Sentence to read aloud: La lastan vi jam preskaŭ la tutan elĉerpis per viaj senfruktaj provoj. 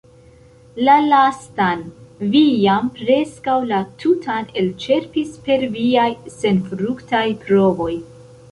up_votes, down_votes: 2, 0